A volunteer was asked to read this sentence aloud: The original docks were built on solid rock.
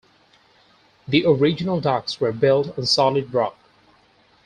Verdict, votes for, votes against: accepted, 4, 0